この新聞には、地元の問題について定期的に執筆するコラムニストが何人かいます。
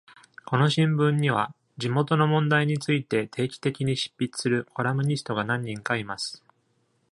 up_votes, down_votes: 2, 0